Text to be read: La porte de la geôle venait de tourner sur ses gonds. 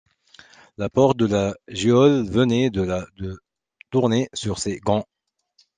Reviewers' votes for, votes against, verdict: 0, 2, rejected